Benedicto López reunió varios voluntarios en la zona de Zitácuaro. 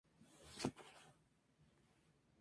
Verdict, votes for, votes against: rejected, 0, 6